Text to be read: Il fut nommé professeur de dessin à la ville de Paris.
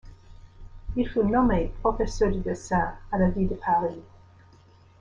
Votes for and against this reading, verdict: 0, 2, rejected